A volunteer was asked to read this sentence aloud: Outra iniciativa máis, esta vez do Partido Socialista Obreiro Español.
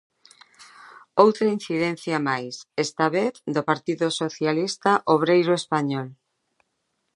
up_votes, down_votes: 0, 2